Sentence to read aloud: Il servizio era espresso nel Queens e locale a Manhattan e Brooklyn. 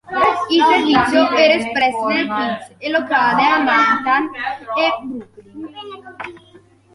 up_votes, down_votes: 0, 2